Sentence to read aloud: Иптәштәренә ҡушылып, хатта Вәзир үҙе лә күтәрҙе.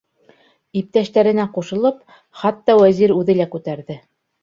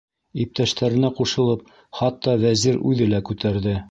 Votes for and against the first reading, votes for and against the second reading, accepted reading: 2, 0, 0, 2, first